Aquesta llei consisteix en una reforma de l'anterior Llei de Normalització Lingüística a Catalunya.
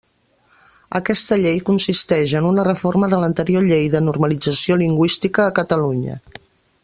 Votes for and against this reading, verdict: 3, 0, accepted